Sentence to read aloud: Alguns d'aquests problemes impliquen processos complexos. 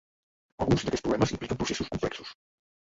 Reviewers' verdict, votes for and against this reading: rejected, 0, 3